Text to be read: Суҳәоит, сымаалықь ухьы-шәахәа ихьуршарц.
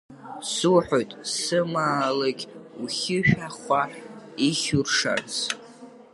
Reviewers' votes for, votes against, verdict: 0, 2, rejected